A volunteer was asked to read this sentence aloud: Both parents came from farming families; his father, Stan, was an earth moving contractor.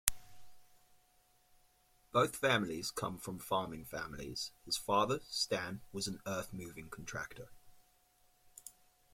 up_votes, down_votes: 0, 2